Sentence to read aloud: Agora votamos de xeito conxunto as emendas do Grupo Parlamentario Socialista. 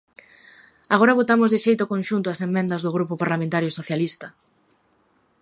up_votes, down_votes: 2, 0